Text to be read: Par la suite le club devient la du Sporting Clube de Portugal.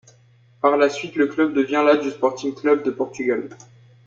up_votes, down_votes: 1, 2